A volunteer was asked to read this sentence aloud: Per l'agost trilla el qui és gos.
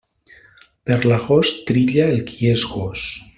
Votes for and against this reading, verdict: 2, 1, accepted